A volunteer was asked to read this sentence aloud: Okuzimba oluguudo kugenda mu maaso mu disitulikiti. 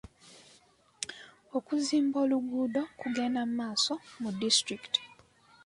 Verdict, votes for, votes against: accepted, 2, 0